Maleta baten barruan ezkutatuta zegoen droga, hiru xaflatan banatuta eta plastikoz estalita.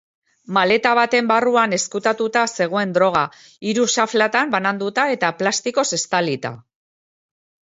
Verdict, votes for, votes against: rejected, 0, 2